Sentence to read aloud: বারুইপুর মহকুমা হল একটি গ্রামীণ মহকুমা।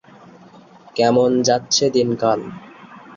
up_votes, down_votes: 0, 2